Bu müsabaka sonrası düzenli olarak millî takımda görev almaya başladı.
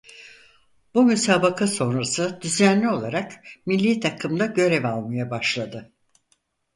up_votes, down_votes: 4, 0